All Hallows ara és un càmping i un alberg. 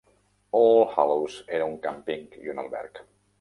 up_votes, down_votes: 0, 2